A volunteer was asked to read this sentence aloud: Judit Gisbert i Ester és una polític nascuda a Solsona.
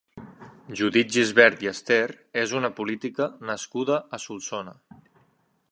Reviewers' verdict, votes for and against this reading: rejected, 1, 2